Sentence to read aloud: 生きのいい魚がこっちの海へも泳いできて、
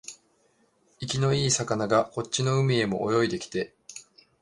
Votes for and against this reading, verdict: 2, 0, accepted